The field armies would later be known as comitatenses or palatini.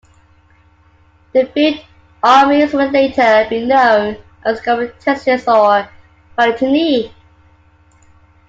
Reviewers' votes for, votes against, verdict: 1, 2, rejected